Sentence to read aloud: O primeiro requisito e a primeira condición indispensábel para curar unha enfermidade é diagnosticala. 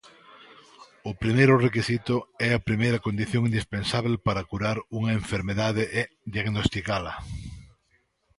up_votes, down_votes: 2, 0